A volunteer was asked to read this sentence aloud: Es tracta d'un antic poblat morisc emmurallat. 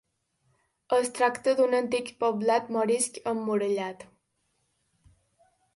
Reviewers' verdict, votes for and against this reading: accepted, 2, 0